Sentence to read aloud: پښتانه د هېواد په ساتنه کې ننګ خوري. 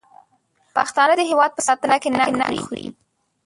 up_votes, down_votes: 0, 2